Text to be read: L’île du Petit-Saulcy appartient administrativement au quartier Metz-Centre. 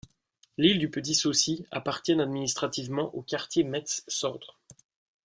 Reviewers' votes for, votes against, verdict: 1, 2, rejected